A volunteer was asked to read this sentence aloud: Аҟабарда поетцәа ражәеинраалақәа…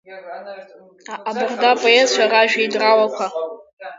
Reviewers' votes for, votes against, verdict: 1, 2, rejected